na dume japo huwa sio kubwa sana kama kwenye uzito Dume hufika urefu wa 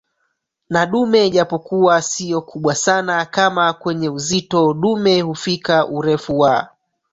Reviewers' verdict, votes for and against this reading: rejected, 0, 3